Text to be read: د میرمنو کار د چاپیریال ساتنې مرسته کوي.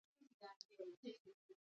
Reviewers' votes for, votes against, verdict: 0, 2, rejected